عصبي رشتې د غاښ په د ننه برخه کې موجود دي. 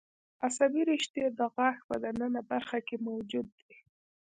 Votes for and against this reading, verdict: 2, 1, accepted